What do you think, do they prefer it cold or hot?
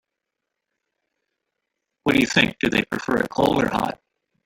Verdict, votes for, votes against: rejected, 0, 2